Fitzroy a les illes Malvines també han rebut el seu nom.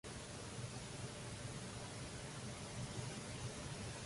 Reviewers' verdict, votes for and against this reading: rejected, 0, 2